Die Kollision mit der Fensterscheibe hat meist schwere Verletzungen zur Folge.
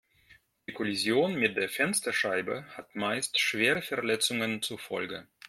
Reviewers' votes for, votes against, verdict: 2, 0, accepted